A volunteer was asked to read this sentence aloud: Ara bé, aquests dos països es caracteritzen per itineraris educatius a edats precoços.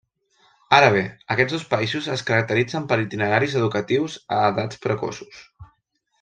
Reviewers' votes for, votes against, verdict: 1, 2, rejected